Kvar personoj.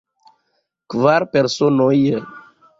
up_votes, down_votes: 2, 0